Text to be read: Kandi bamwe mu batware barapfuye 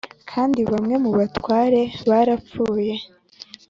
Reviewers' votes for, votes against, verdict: 2, 0, accepted